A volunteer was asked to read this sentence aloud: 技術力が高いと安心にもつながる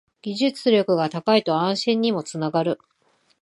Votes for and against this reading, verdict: 2, 0, accepted